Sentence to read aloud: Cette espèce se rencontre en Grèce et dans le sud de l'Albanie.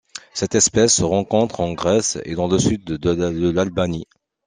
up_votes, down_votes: 1, 2